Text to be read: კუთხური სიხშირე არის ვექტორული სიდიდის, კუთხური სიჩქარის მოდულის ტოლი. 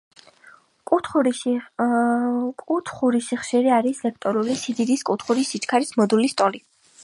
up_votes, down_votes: 3, 2